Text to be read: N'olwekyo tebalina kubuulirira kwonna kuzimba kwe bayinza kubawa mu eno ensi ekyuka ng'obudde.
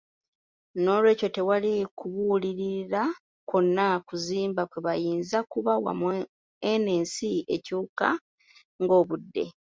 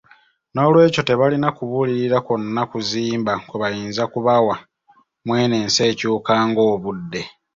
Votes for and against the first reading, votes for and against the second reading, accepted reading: 0, 2, 2, 0, second